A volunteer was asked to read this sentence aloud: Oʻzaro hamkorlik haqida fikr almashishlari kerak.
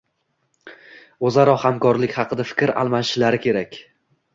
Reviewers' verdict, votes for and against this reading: accepted, 2, 0